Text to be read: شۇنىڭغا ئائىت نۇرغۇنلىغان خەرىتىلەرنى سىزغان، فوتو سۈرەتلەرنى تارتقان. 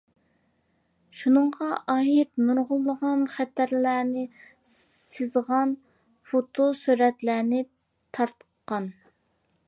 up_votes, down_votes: 0, 2